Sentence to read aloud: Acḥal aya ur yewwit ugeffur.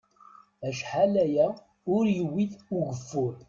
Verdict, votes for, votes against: accepted, 2, 0